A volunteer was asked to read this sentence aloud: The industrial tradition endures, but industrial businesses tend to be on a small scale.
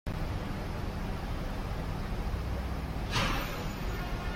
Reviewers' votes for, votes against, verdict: 0, 2, rejected